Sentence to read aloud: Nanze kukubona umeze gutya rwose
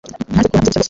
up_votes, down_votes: 0, 2